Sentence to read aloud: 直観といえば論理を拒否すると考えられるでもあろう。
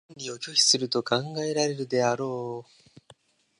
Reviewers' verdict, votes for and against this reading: rejected, 0, 2